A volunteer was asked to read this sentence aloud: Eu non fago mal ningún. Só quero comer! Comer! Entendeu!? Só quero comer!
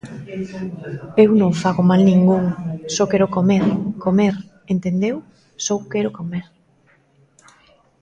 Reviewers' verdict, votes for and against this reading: accepted, 2, 0